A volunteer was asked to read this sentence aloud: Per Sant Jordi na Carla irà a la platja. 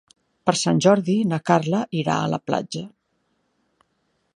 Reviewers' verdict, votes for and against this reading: accepted, 3, 1